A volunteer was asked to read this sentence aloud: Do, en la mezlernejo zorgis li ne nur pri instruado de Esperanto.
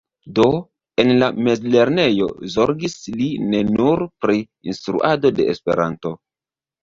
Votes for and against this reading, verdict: 0, 2, rejected